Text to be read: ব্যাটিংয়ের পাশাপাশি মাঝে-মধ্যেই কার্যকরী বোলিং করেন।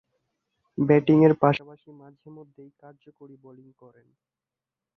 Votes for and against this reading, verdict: 0, 2, rejected